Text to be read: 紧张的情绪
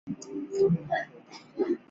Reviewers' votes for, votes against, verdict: 0, 3, rejected